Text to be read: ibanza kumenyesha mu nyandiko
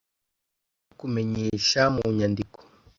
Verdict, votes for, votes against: rejected, 0, 2